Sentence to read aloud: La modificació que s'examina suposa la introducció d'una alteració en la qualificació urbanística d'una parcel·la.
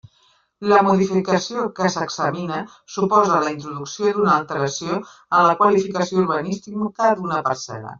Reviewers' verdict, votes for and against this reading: rejected, 1, 2